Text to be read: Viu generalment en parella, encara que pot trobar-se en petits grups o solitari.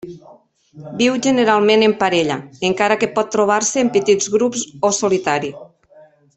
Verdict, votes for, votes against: rejected, 0, 2